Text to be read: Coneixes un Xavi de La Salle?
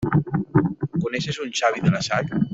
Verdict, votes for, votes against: rejected, 1, 2